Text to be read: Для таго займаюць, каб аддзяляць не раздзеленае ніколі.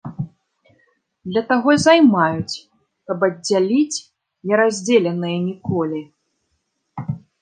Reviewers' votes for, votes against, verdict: 0, 2, rejected